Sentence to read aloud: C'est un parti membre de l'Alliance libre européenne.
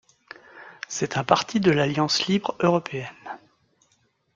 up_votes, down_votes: 0, 2